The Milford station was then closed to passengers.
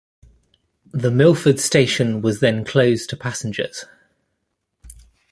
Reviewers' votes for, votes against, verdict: 1, 2, rejected